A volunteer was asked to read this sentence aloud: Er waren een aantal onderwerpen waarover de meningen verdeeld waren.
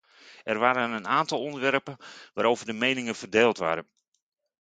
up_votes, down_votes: 2, 0